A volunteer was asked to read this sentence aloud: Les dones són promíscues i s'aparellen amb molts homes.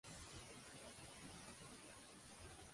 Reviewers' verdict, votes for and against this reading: rejected, 0, 2